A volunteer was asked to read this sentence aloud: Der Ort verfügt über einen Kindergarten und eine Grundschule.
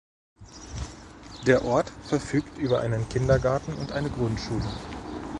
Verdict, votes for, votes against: rejected, 0, 2